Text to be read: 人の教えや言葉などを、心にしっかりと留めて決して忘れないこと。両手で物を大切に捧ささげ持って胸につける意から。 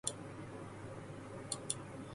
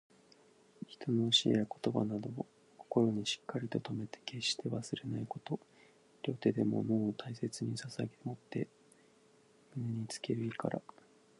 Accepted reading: second